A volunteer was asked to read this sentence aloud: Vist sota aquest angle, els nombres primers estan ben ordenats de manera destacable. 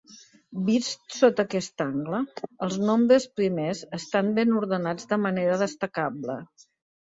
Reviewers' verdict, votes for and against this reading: accepted, 2, 0